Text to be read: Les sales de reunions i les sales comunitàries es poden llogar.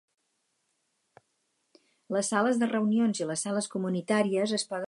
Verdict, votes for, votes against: rejected, 2, 4